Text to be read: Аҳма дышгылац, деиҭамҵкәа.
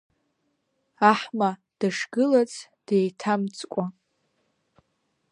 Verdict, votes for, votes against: accepted, 3, 0